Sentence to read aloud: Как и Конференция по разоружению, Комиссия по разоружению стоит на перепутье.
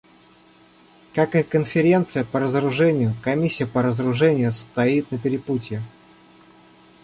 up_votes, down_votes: 2, 0